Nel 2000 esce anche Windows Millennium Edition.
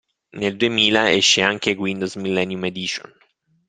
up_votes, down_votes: 0, 2